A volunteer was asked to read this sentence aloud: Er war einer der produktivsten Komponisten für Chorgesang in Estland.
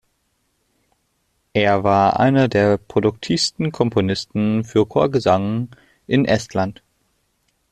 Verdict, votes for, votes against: accepted, 2, 0